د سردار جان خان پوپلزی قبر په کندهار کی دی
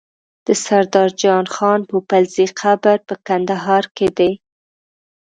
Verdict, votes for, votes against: accepted, 2, 0